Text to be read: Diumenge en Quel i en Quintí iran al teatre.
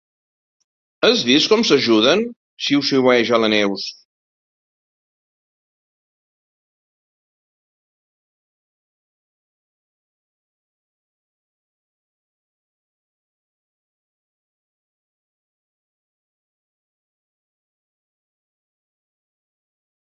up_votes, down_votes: 0, 2